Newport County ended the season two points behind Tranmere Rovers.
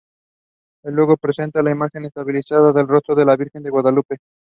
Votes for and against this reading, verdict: 0, 2, rejected